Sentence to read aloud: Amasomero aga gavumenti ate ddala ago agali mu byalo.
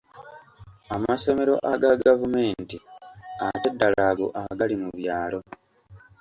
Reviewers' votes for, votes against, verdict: 2, 0, accepted